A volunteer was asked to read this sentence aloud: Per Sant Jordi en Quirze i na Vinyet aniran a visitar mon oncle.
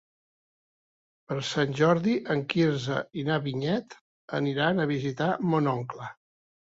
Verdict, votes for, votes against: accepted, 3, 0